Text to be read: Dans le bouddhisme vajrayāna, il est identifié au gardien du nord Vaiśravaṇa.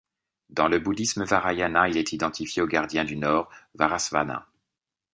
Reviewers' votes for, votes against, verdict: 1, 2, rejected